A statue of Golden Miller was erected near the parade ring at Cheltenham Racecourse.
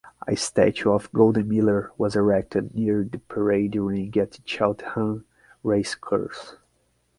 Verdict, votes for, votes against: rejected, 3, 3